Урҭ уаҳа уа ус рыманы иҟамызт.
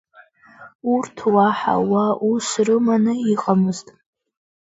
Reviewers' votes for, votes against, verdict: 2, 1, accepted